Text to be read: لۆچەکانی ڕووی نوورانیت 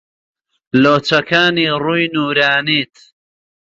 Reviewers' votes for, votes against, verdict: 2, 0, accepted